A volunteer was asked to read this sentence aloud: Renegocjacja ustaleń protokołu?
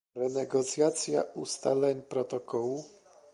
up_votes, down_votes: 2, 0